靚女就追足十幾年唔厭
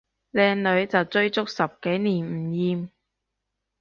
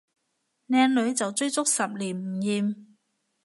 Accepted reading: first